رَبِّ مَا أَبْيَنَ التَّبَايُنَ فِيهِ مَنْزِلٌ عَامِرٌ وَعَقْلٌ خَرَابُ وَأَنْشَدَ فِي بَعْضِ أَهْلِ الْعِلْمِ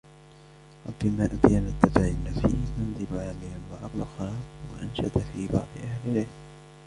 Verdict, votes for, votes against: rejected, 0, 2